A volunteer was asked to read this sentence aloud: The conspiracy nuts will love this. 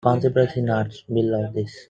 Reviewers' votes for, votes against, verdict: 0, 2, rejected